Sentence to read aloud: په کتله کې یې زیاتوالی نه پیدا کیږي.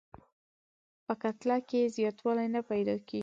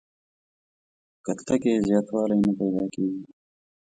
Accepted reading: first